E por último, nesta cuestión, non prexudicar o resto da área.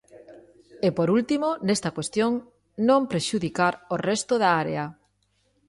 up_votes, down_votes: 2, 0